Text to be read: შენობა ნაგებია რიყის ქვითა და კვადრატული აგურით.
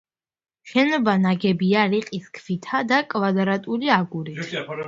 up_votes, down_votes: 2, 0